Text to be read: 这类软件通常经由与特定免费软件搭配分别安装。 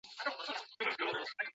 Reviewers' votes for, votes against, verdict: 0, 3, rejected